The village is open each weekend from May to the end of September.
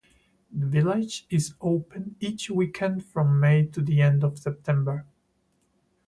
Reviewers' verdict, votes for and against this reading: rejected, 2, 2